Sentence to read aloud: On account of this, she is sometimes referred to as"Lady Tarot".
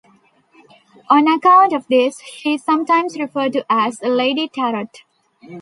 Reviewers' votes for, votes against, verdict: 2, 0, accepted